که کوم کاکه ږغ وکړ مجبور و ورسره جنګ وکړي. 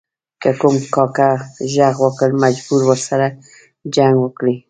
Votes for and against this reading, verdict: 0, 2, rejected